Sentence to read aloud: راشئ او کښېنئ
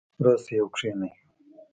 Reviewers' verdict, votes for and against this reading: rejected, 0, 2